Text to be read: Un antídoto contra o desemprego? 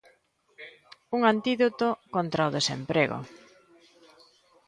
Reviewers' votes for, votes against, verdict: 2, 1, accepted